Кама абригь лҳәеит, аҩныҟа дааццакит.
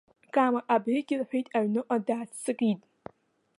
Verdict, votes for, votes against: accepted, 2, 0